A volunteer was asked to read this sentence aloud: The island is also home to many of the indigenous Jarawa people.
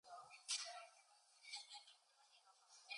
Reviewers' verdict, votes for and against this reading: accepted, 2, 0